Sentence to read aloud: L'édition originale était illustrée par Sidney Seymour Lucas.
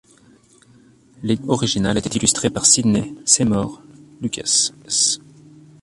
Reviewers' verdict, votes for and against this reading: rejected, 0, 2